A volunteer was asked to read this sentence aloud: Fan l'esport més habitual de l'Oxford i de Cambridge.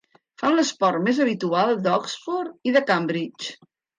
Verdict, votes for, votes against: rejected, 1, 2